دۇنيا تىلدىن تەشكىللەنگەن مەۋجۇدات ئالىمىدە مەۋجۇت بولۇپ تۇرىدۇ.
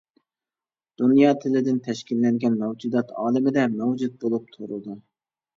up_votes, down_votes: 2, 0